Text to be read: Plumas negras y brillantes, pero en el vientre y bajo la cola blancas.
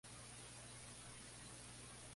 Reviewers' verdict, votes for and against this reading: rejected, 0, 2